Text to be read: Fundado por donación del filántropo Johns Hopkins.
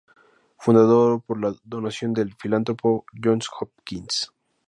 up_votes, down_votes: 2, 0